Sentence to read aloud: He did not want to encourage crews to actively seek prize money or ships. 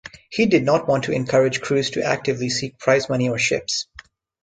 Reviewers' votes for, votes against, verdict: 2, 0, accepted